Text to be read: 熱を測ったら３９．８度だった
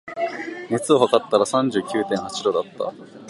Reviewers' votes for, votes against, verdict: 0, 2, rejected